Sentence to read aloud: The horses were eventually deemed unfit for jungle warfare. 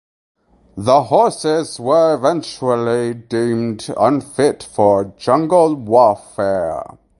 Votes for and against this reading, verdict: 4, 0, accepted